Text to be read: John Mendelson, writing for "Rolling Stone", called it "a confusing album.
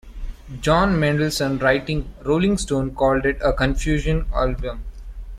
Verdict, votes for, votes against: rejected, 1, 2